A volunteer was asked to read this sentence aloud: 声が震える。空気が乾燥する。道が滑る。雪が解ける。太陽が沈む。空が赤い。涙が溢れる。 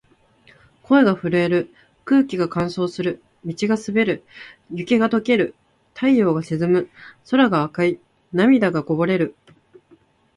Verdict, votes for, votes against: rejected, 0, 2